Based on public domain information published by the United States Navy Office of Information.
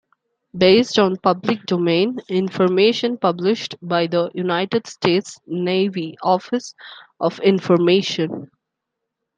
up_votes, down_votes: 2, 0